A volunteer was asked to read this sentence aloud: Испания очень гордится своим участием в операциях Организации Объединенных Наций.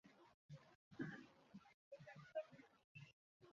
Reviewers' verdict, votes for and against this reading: rejected, 0, 2